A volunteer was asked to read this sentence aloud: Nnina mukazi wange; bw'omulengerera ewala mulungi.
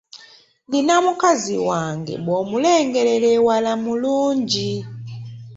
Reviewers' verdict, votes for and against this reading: accepted, 2, 0